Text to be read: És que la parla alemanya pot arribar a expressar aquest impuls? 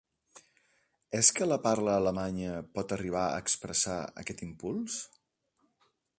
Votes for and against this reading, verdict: 3, 0, accepted